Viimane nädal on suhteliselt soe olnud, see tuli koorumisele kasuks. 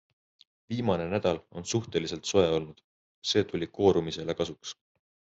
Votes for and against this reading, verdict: 2, 0, accepted